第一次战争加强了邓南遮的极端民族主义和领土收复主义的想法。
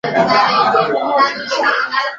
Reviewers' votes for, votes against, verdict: 0, 4, rejected